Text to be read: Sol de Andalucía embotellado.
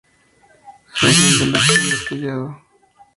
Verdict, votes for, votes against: rejected, 0, 2